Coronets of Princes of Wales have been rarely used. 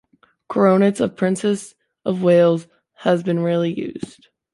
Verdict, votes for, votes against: rejected, 0, 3